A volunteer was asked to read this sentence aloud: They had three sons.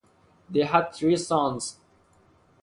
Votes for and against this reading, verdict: 2, 0, accepted